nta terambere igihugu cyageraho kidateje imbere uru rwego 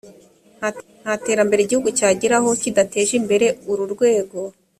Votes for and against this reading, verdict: 1, 2, rejected